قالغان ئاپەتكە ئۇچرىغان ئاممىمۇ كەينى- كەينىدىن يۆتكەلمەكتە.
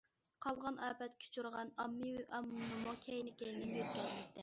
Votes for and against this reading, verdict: 0, 2, rejected